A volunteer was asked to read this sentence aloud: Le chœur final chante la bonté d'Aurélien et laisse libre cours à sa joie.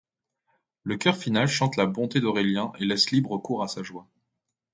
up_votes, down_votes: 3, 0